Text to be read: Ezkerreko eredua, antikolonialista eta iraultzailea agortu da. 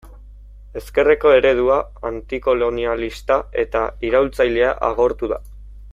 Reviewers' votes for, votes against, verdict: 2, 0, accepted